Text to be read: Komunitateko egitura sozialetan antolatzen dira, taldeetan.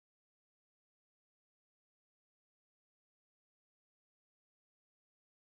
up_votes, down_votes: 2, 4